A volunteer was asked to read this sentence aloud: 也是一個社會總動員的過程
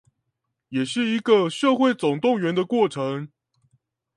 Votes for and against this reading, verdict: 2, 0, accepted